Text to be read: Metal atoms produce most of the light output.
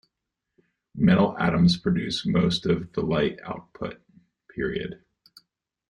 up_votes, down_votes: 0, 2